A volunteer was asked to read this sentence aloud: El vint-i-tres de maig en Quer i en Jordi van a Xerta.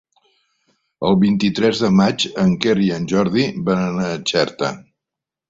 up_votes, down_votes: 1, 2